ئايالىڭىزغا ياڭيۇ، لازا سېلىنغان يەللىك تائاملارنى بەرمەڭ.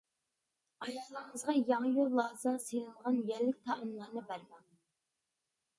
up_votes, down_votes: 2, 1